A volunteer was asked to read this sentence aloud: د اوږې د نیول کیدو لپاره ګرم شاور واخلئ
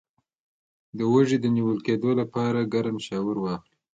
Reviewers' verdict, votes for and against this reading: accepted, 2, 0